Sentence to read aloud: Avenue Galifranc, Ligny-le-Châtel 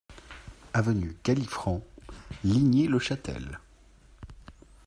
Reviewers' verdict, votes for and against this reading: accepted, 2, 0